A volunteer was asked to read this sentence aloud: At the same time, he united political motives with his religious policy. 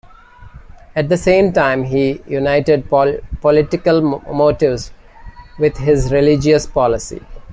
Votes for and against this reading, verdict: 2, 1, accepted